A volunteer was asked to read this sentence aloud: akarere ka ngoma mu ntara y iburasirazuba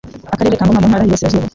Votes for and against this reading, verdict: 0, 2, rejected